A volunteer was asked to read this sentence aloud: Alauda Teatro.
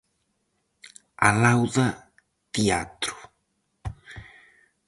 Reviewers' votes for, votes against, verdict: 4, 0, accepted